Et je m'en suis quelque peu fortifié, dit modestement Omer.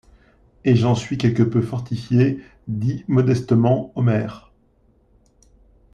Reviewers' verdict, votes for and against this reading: rejected, 0, 2